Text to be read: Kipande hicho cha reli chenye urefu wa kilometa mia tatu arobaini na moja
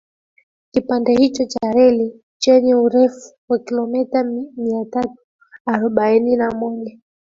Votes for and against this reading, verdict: 3, 0, accepted